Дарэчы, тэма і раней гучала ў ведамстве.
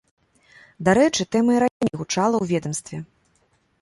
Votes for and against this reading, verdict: 0, 2, rejected